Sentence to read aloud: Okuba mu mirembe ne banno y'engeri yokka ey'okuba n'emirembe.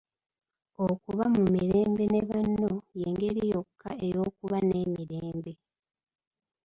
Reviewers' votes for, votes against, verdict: 0, 2, rejected